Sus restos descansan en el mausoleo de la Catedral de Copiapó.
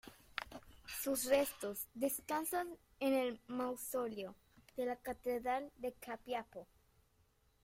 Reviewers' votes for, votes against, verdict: 0, 2, rejected